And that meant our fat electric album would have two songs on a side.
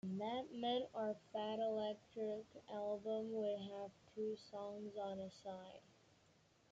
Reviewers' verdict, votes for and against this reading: accepted, 2, 1